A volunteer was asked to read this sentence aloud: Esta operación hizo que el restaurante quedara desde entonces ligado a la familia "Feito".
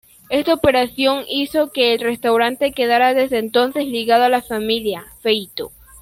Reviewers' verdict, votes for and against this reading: accepted, 2, 0